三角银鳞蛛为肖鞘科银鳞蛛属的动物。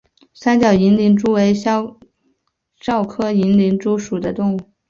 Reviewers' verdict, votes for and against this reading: rejected, 0, 2